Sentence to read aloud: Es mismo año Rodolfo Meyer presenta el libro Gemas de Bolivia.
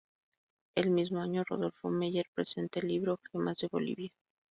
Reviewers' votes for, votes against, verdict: 0, 2, rejected